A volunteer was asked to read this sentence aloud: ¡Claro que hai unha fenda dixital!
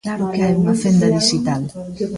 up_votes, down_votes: 1, 2